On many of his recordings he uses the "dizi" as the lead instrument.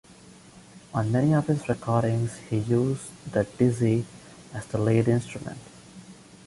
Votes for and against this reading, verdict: 2, 0, accepted